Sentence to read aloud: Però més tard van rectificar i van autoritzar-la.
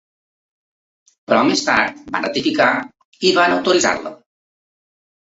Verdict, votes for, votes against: accepted, 2, 1